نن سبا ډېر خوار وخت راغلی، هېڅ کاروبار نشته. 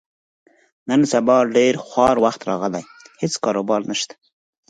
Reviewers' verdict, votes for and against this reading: accepted, 4, 0